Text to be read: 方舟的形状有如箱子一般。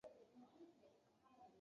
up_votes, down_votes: 1, 3